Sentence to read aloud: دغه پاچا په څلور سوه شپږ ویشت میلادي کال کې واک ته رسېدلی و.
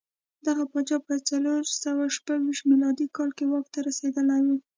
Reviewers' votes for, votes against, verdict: 2, 0, accepted